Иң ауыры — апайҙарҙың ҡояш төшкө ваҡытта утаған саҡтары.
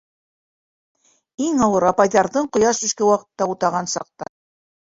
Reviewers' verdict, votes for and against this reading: rejected, 0, 2